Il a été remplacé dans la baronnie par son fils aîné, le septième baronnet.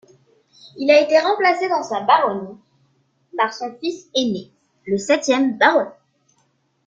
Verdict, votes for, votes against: rejected, 1, 2